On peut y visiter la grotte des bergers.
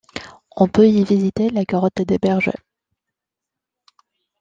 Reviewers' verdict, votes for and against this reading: accepted, 2, 0